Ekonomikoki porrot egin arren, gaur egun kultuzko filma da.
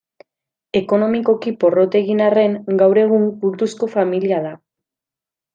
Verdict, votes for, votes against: rejected, 0, 2